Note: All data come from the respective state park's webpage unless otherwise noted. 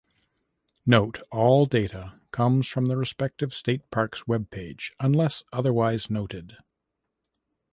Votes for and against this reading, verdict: 0, 2, rejected